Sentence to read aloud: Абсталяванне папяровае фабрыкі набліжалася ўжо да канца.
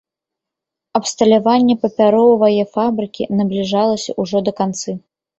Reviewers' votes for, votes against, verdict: 0, 2, rejected